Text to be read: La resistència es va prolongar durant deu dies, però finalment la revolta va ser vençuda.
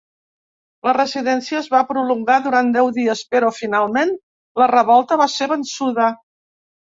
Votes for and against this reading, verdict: 0, 2, rejected